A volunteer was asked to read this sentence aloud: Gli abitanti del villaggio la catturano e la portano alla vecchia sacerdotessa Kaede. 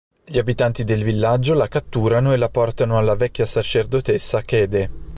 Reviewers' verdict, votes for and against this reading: accepted, 4, 0